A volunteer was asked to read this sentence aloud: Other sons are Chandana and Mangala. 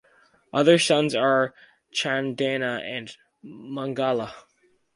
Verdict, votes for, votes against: rejected, 0, 2